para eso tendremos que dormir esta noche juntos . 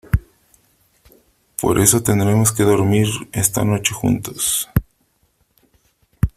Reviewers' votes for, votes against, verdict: 2, 1, accepted